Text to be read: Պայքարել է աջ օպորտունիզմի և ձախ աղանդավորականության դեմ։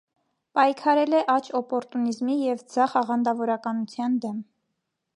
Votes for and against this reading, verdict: 1, 2, rejected